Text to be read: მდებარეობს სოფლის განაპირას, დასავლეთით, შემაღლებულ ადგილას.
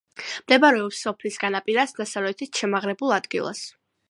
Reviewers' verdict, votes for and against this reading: accepted, 2, 0